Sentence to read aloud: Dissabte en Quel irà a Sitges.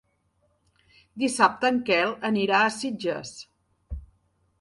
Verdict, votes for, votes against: rejected, 1, 2